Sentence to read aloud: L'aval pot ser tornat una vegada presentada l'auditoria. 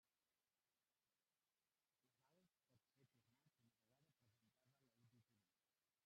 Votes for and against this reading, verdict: 0, 2, rejected